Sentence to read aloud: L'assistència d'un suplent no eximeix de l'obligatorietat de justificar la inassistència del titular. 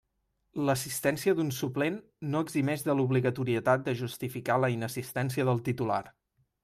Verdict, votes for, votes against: accepted, 2, 0